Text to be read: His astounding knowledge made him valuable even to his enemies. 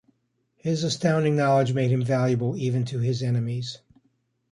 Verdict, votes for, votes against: accepted, 2, 1